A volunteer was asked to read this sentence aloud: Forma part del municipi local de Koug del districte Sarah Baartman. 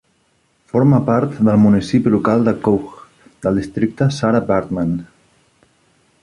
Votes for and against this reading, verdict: 2, 0, accepted